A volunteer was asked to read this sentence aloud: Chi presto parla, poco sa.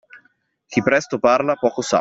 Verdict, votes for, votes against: accepted, 2, 0